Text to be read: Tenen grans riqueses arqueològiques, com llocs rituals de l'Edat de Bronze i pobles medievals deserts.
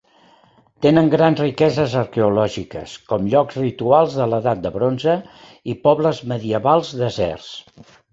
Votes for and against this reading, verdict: 3, 0, accepted